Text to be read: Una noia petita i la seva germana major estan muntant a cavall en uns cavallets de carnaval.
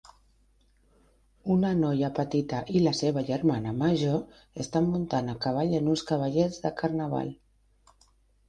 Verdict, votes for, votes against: accepted, 4, 1